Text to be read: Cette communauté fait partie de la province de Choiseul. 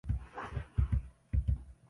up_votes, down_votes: 0, 2